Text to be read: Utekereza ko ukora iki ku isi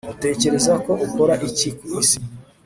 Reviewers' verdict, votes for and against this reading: accepted, 2, 0